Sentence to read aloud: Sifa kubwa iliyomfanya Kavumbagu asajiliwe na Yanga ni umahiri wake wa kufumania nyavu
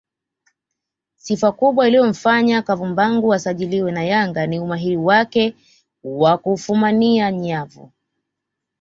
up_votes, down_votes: 2, 0